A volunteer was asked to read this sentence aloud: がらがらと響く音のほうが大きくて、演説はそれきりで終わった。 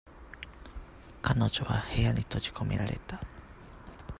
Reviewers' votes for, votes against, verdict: 0, 2, rejected